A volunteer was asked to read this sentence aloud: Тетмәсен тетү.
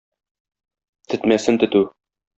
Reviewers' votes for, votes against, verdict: 2, 0, accepted